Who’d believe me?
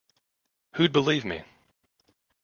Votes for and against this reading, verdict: 1, 2, rejected